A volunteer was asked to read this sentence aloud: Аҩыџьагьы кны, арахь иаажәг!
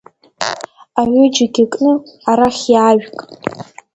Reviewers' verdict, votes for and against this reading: rejected, 1, 2